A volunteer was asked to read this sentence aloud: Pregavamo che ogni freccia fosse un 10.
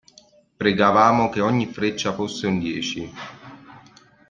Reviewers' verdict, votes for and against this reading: rejected, 0, 2